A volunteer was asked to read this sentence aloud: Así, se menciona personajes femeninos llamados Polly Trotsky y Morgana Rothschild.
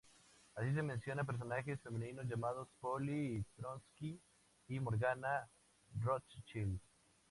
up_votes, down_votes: 2, 0